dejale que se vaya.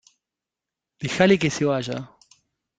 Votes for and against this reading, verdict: 2, 0, accepted